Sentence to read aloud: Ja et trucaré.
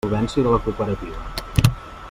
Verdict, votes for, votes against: rejected, 1, 2